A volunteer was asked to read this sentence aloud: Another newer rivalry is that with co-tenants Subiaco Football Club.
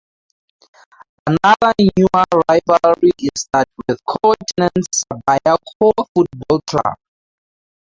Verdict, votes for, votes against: rejected, 0, 4